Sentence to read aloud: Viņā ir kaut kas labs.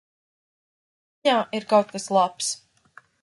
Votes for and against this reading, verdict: 0, 2, rejected